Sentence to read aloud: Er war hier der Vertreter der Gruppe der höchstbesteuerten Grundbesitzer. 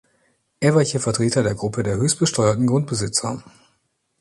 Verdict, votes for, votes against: rejected, 0, 2